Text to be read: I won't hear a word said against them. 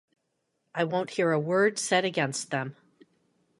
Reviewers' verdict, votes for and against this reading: accepted, 2, 0